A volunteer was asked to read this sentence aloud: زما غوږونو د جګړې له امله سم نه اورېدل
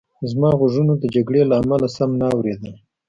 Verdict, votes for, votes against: accepted, 2, 0